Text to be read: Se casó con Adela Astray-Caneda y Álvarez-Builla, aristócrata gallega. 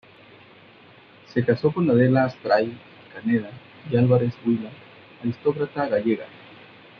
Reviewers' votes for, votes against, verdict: 2, 1, accepted